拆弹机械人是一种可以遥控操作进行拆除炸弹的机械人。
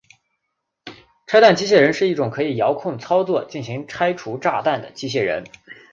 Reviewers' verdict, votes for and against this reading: accepted, 3, 0